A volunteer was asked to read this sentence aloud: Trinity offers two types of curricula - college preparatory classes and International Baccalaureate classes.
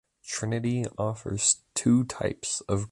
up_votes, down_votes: 0, 2